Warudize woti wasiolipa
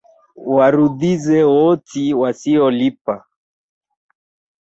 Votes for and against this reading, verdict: 1, 2, rejected